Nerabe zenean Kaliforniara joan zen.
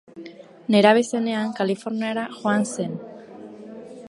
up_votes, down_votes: 2, 0